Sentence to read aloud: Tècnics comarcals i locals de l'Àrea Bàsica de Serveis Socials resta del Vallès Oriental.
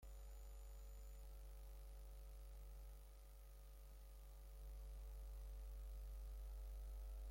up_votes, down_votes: 0, 2